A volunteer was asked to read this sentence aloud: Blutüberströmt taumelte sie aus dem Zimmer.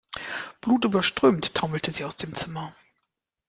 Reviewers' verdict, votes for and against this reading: accepted, 2, 0